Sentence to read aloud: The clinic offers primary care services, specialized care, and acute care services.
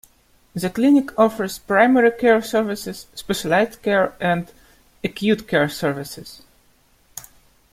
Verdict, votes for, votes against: accepted, 2, 0